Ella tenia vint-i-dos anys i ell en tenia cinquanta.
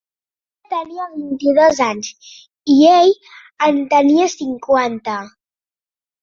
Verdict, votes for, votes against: rejected, 0, 2